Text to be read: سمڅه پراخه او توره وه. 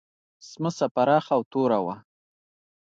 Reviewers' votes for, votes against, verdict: 2, 0, accepted